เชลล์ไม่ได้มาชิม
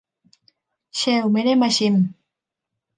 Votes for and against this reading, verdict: 2, 0, accepted